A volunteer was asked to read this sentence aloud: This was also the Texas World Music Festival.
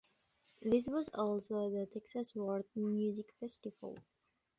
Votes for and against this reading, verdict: 2, 0, accepted